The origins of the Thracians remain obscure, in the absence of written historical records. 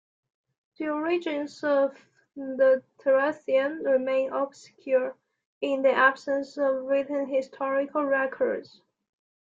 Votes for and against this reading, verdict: 2, 0, accepted